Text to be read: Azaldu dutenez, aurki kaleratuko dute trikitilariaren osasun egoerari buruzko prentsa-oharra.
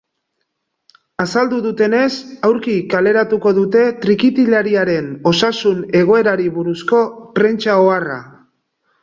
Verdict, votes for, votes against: accepted, 2, 0